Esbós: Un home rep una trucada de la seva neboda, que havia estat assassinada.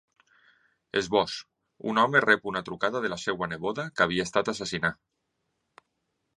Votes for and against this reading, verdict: 1, 2, rejected